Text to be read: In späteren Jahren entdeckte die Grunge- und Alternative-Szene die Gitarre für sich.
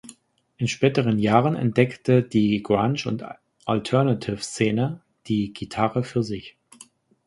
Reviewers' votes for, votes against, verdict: 1, 2, rejected